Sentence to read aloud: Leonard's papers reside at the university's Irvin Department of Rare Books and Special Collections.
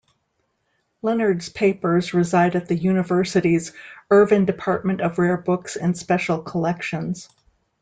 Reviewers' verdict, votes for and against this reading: accepted, 2, 0